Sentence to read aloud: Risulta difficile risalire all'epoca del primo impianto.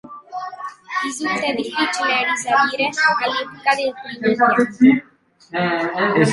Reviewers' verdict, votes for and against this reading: rejected, 0, 2